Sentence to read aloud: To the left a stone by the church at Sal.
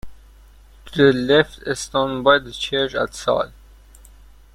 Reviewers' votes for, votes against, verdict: 2, 1, accepted